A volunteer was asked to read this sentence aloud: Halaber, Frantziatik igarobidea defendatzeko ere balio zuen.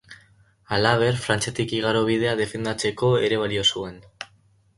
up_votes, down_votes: 6, 0